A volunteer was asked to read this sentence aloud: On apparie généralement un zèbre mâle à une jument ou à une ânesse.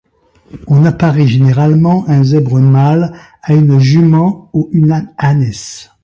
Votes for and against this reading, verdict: 0, 2, rejected